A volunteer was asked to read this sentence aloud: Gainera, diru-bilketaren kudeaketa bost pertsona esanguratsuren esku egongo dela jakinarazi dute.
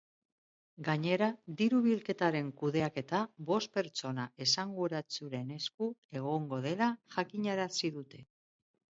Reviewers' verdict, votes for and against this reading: accepted, 2, 0